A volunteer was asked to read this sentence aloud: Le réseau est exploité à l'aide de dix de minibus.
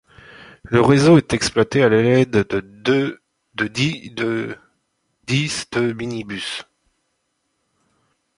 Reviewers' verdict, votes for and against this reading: rejected, 1, 2